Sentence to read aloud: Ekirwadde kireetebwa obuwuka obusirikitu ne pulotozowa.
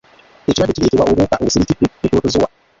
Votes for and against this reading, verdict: 0, 2, rejected